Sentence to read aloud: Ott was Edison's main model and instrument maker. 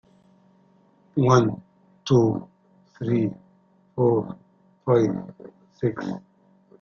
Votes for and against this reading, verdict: 0, 2, rejected